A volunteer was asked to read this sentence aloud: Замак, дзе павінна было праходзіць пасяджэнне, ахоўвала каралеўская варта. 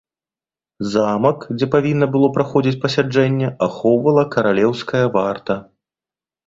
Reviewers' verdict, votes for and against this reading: accepted, 2, 0